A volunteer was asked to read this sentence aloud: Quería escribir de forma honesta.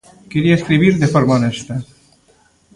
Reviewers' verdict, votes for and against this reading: rejected, 1, 2